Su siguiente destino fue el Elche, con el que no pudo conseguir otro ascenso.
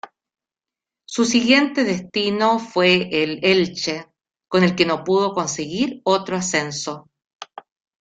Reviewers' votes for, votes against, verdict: 2, 1, accepted